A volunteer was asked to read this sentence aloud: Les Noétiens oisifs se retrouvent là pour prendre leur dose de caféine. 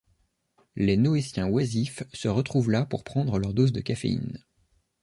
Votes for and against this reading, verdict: 2, 0, accepted